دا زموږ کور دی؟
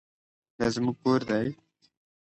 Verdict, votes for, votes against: accepted, 2, 0